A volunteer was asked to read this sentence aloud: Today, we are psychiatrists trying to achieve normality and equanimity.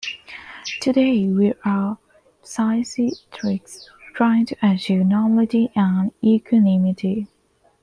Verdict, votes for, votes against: rejected, 0, 2